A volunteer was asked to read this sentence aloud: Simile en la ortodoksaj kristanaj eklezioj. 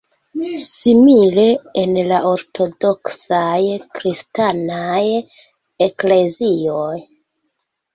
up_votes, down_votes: 0, 2